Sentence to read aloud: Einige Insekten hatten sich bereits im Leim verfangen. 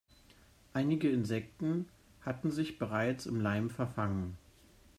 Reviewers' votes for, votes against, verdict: 0, 2, rejected